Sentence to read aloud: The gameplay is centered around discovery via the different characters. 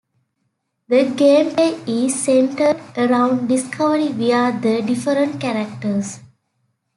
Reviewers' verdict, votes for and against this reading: rejected, 1, 2